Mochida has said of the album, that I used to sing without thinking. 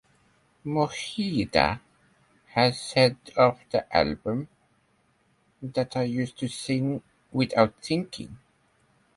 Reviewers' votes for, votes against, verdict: 3, 6, rejected